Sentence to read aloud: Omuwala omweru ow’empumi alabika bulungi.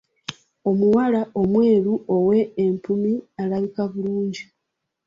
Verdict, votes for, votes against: accepted, 2, 0